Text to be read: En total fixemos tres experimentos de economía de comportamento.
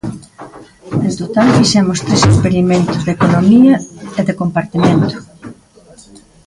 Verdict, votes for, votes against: rejected, 0, 2